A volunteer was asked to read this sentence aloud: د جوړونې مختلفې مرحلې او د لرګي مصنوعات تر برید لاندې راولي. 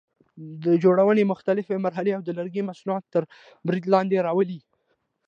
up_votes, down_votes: 2, 0